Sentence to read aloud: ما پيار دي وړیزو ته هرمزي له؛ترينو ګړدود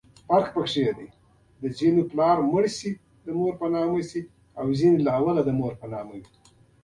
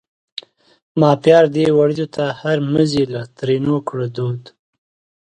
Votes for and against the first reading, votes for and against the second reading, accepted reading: 0, 3, 2, 0, second